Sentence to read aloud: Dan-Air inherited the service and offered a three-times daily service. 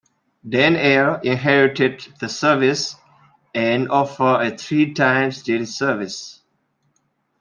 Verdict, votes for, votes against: rejected, 0, 2